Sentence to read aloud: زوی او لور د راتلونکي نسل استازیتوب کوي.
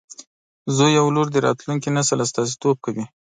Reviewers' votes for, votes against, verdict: 2, 0, accepted